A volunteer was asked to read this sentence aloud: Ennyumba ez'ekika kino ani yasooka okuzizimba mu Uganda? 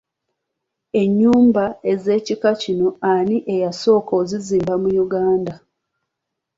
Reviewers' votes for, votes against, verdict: 2, 0, accepted